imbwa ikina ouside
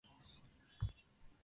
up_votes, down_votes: 0, 2